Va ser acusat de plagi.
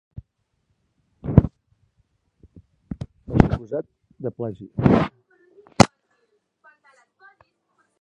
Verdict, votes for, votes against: rejected, 0, 4